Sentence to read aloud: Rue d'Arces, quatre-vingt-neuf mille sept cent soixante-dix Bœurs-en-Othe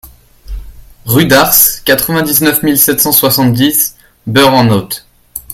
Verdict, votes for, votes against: accepted, 2, 0